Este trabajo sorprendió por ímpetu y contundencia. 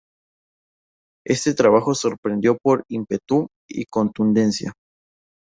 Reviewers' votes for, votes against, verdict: 2, 0, accepted